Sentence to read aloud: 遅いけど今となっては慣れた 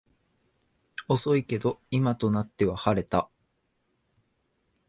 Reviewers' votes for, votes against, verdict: 1, 5, rejected